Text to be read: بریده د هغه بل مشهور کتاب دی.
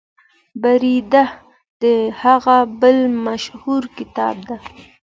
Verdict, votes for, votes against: accepted, 2, 0